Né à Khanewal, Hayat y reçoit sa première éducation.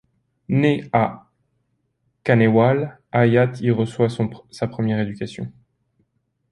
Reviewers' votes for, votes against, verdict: 1, 2, rejected